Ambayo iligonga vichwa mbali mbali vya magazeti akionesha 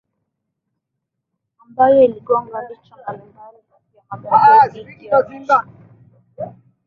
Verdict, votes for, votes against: rejected, 1, 3